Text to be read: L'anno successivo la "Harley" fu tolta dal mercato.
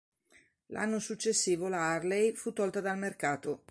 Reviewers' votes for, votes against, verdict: 2, 0, accepted